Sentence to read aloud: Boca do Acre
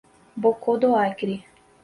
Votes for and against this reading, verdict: 0, 4, rejected